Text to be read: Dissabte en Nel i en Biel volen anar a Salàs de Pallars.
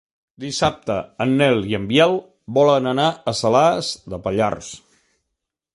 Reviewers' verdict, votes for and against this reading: accepted, 3, 0